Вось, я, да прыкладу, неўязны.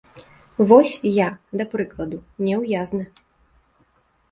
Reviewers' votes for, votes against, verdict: 0, 2, rejected